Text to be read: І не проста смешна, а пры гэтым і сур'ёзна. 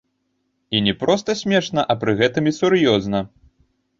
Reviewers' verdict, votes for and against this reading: rejected, 1, 2